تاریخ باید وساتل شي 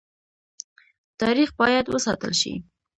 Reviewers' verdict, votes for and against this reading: accepted, 2, 0